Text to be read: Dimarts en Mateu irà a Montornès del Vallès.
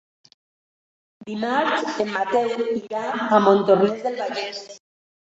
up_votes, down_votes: 3, 2